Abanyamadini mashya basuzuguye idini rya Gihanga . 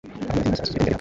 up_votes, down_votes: 0, 2